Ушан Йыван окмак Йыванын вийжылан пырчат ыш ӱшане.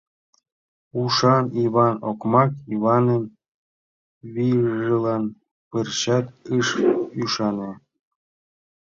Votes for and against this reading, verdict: 1, 2, rejected